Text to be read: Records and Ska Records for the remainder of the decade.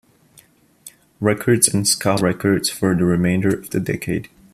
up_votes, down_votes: 2, 0